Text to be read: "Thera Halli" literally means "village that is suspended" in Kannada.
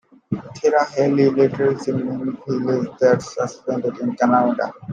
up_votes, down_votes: 0, 2